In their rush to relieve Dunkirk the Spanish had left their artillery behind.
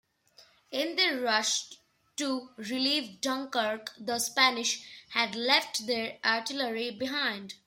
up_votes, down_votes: 2, 0